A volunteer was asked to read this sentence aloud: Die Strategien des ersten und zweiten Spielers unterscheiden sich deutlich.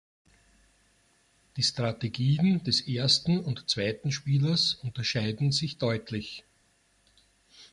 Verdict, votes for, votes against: accepted, 2, 0